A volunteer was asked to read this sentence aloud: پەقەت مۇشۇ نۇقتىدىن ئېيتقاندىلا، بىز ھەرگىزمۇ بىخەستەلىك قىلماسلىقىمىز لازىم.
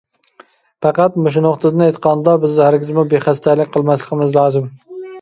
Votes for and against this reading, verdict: 2, 3, rejected